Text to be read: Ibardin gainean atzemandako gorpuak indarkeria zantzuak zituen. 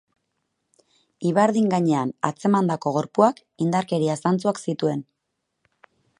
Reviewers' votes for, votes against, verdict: 4, 0, accepted